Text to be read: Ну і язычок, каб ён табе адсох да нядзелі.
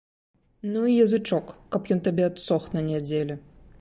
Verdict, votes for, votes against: rejected, 1, 2